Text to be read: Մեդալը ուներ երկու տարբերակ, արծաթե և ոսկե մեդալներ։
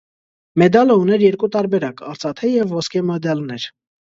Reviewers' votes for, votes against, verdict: 1, 2, rejected